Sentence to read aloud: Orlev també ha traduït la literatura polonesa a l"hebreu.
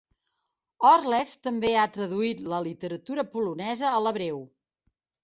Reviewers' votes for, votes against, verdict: 2, 0, accepted